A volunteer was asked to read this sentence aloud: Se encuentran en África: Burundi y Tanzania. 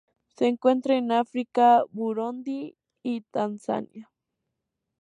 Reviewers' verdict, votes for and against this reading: rejected, 0, 4